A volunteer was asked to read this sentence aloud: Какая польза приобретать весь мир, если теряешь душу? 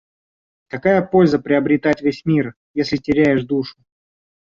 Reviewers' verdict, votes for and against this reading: rejected, 0, 2